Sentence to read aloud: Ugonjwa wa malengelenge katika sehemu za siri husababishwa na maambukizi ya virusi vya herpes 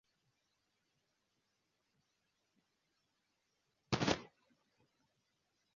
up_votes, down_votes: 0, 2